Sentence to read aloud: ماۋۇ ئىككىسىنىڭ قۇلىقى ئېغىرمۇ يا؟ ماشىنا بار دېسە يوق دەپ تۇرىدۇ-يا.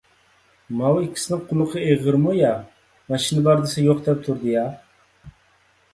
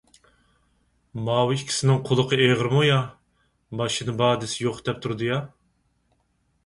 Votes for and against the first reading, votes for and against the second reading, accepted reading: 1, 2, 4, 0, second